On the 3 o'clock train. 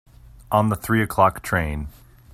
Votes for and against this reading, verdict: 0, 2, rejected